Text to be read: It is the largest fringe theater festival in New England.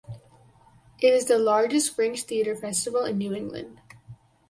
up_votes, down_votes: 4, 2